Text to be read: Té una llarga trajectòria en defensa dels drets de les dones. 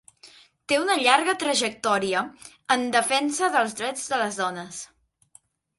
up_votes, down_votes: 2, 0